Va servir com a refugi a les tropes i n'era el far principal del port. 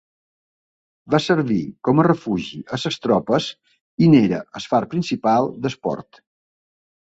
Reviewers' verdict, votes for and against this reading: rejected, 1, 2